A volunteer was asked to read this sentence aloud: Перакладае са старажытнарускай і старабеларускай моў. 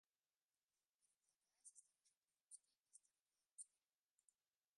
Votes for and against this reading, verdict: 0, 2, rejected